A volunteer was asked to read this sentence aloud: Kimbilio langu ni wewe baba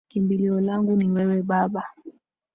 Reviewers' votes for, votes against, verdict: 4, 0, accepted